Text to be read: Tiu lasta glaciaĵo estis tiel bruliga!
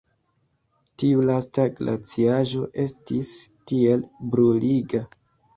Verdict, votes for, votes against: rejected, 1, 2